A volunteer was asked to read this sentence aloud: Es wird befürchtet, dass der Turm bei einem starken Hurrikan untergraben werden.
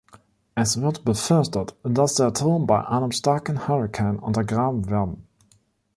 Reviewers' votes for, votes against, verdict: 1, 2, rejected